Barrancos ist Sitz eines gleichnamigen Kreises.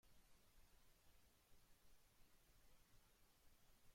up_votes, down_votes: 0, 2